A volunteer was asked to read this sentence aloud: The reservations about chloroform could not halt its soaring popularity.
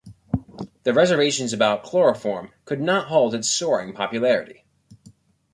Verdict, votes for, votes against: accepted, 3, 0